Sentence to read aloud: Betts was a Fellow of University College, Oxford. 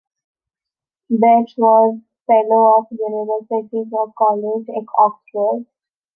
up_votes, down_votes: 0, 2